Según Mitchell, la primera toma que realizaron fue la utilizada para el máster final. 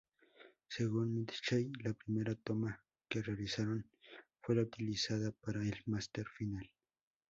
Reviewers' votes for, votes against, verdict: 2, 0, accepted